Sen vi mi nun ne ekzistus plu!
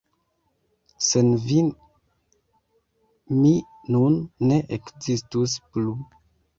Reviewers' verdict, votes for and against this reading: rejected, 0, 2